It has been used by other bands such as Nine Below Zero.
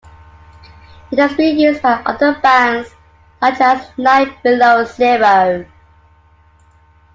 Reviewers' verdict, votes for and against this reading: accepted, 2, 1